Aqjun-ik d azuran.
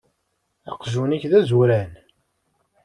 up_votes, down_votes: 2, 0